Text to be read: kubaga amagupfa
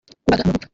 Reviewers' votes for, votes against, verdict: 0, 3, rejected